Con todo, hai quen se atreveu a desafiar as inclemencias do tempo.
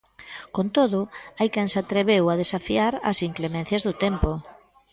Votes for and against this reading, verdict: 2, 0, accepted